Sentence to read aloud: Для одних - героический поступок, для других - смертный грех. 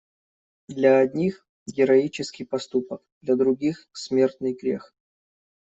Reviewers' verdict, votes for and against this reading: accepted, 2, 0